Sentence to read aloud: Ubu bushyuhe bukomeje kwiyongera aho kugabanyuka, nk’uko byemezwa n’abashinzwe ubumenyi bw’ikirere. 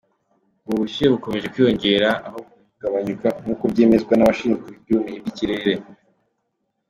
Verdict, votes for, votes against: rejected, 1, 2